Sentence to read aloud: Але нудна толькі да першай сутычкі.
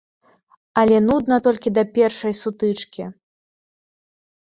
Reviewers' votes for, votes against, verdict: 2, 0, accepted